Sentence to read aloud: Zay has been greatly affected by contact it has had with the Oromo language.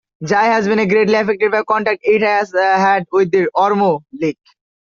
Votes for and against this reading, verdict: 0, 2, rejected